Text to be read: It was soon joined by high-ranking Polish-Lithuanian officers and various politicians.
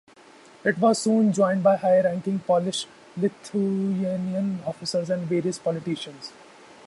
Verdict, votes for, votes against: rejected, 0, 4